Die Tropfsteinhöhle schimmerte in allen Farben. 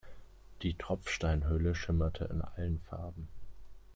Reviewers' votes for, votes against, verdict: 2, 1, accepted